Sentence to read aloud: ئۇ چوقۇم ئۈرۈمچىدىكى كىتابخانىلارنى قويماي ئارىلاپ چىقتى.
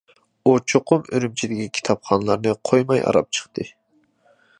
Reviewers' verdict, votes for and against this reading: rejected, 1, 2